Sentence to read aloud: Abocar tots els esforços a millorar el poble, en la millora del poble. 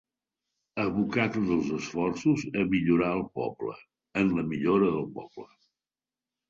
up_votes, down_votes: 6, 0